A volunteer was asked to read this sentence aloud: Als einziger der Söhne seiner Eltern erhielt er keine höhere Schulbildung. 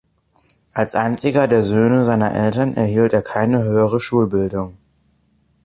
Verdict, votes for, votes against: accepted, 3, 0